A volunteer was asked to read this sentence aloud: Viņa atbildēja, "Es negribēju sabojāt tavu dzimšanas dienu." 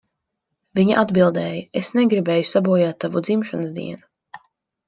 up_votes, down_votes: 2, 0